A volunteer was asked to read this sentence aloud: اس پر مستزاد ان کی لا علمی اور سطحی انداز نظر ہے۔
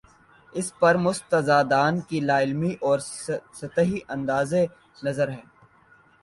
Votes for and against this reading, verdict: 2, 1, accepted